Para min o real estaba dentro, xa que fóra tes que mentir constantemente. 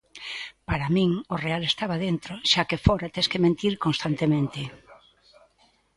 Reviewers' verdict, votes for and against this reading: rejected, 1, 2